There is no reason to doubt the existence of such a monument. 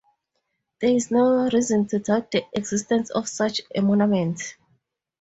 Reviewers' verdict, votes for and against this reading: accepted, 2, 0